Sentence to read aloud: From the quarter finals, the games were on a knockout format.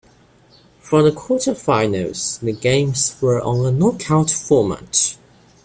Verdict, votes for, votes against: accepted, 2, 1